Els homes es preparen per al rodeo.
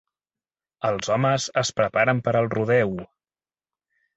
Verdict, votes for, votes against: accepted, 2, 0